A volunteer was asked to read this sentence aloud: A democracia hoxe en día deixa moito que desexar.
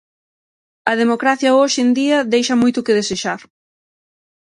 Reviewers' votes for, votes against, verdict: 6, 0, accepted